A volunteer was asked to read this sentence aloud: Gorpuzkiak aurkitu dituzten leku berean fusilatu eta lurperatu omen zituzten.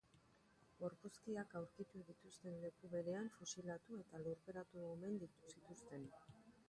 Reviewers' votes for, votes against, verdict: 0, 3, rejected